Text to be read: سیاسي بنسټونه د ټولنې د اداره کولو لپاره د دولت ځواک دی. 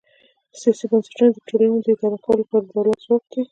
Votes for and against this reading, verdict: 2, 1, accepted